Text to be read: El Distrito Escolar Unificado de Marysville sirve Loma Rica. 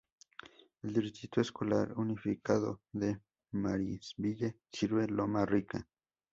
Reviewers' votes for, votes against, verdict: 0, 2, rejected